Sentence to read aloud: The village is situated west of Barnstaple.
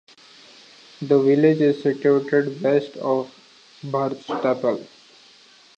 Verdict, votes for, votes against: rejected, 0, 2